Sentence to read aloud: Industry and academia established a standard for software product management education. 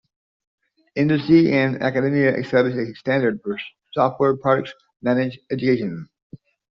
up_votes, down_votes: 1, 2